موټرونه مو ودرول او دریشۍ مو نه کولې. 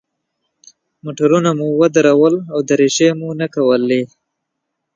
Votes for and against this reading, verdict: 2, 0, accepted